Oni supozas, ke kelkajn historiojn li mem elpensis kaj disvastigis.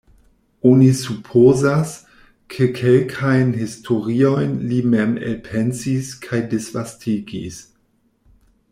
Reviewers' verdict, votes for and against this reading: accepted, 2, 0